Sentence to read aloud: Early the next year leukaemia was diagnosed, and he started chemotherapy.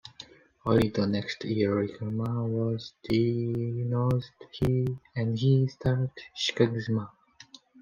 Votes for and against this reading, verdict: 0, 2, rejected